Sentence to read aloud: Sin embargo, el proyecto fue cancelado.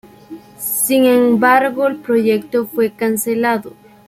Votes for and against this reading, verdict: 2, 0, accepted